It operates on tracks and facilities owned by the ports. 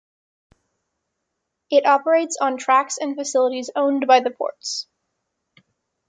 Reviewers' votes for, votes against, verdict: 2, 0, accepted